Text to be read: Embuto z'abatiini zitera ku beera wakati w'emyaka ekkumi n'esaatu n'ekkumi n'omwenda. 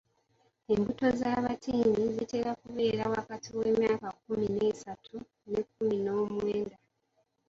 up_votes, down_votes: 1, 2